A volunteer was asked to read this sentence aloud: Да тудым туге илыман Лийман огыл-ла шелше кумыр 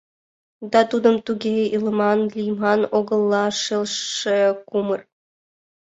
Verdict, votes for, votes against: accepted, 2, 0